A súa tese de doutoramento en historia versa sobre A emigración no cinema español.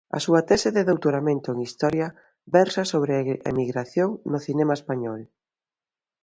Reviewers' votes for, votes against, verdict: 1, 2, rejected